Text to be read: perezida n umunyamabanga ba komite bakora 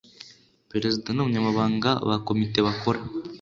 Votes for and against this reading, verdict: 2, 0, accepted